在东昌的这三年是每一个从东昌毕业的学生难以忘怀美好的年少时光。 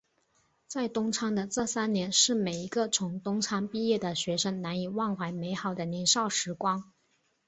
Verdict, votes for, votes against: accepted, 4, 0